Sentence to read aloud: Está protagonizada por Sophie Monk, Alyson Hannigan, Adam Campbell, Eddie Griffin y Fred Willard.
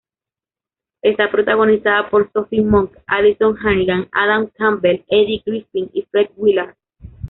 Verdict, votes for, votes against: rejected, 0, 2